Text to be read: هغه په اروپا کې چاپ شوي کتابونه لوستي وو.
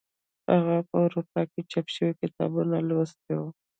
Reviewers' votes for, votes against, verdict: 1, 2, rejected